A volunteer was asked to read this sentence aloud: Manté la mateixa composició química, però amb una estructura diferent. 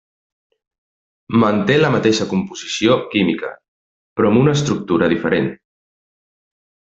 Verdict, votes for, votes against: rejected, 1, 2